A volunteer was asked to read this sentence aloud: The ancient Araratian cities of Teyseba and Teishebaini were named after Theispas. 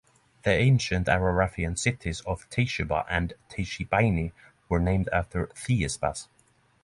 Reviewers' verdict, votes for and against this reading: accepted, 6, 0